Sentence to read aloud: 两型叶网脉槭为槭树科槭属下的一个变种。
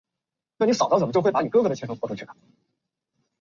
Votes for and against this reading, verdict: 2, 3, rejected